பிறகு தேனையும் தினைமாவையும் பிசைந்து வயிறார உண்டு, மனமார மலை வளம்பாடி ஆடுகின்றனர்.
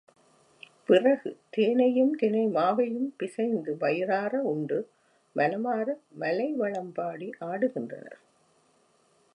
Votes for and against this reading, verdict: 2, 0, accepted